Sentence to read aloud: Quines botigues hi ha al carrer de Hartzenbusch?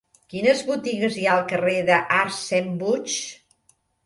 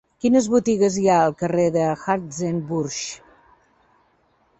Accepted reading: second